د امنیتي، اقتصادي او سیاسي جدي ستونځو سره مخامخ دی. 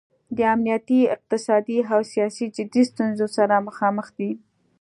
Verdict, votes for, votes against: accepted, 2, 0